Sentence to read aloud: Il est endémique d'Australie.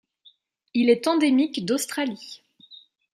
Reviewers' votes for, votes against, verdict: 2, 0, accepted